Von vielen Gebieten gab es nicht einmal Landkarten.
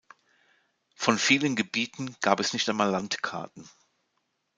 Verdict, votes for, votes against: accepted, 2, 0